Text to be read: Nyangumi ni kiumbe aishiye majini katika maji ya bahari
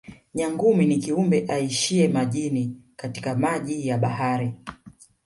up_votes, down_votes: 1, 2